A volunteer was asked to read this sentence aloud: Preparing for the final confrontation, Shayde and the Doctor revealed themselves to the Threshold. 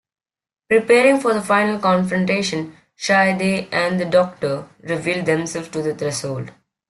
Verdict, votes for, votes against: accepted, 2, 0